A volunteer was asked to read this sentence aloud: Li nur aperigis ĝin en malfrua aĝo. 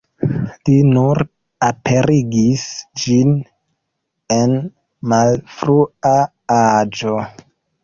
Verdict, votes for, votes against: accepted, 2, 1